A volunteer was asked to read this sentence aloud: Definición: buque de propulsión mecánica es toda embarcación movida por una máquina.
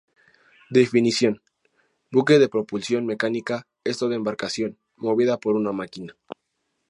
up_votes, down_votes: 2, 0